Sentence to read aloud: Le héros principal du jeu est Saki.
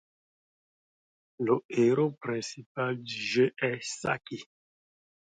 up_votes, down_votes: 2, 0